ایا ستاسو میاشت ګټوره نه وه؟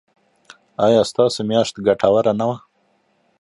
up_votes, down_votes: 1, 2